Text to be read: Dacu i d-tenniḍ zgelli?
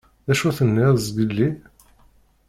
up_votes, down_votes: 0, 2